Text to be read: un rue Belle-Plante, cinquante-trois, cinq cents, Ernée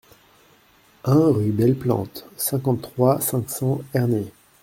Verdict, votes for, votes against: accepted, 2, 0